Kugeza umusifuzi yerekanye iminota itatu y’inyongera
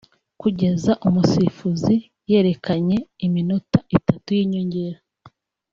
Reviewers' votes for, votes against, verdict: 3, 0, accepted